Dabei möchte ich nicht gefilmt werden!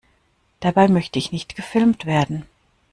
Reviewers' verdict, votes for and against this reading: accepted, 2, 0